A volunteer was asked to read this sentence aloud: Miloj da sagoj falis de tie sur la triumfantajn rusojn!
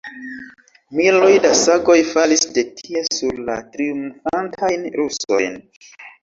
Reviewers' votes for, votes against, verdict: 2, 0, accepted